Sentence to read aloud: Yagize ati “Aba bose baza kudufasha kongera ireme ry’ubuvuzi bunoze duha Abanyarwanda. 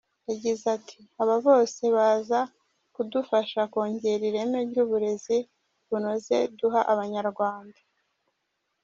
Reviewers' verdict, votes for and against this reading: rejected, 1, 2